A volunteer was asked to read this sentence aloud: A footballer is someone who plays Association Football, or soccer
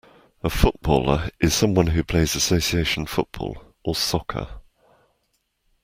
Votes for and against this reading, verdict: 2, 0, accepted